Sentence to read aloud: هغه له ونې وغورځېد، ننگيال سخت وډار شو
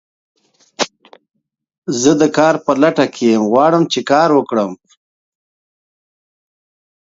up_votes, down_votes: 0, 2